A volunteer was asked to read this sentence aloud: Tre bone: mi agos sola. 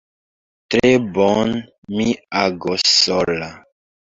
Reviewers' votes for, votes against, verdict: 2, 0, accepted